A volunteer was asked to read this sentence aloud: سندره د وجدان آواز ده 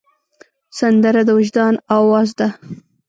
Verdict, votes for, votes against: accepted, 2, 0